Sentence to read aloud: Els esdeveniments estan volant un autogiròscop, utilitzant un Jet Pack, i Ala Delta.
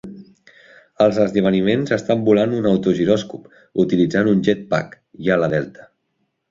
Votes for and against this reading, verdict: 1, 2, rejected